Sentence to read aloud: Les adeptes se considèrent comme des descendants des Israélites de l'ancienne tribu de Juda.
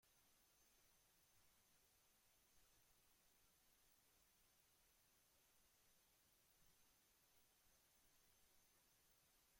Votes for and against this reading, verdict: 0, 2, rejected